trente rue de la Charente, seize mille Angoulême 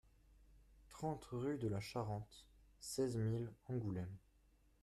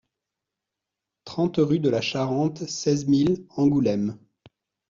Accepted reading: second